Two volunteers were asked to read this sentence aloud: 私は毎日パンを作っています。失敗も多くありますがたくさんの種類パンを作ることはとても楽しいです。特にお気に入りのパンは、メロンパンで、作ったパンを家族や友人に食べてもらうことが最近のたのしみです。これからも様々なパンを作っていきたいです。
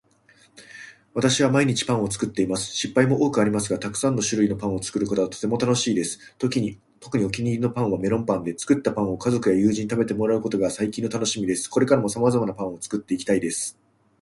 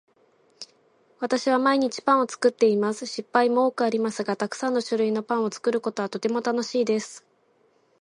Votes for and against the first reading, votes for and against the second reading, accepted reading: 2, 0, 0, 2, first